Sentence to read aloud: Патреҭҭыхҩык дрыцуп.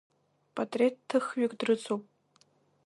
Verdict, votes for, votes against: rejected, 1, 2